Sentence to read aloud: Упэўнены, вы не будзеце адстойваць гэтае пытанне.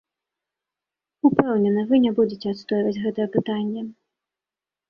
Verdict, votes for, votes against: accepted, 2, 0